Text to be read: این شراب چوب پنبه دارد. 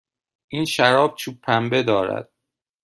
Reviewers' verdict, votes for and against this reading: accepted, 2, 1